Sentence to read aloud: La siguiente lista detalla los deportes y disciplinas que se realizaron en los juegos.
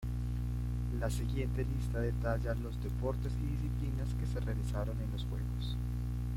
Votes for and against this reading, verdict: 1, 2, rejected